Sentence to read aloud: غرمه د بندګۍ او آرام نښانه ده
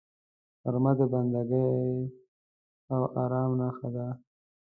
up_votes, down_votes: 0, 2